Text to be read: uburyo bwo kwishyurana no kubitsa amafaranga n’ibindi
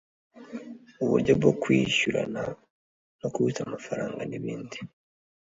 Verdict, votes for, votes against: accepted, 2, 0